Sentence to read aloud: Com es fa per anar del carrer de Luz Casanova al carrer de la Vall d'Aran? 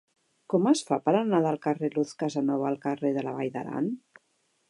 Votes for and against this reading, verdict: 1, 2, rejected